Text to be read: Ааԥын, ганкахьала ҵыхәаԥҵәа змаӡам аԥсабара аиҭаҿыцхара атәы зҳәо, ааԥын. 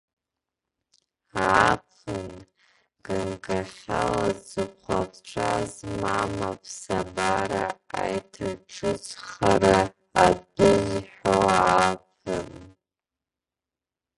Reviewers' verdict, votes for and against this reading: rejected, 0, 2